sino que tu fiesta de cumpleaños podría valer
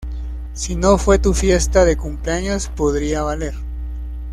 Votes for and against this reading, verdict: 0, 2, rejected